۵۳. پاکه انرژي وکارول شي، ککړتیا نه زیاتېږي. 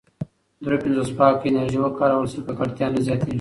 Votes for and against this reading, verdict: 0, 2, rejected